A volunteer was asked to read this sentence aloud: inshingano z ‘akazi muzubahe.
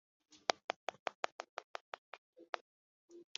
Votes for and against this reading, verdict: 0, 2, rejected